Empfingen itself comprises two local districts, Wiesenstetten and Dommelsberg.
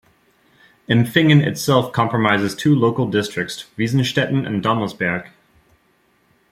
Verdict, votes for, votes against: accepted, 3, 1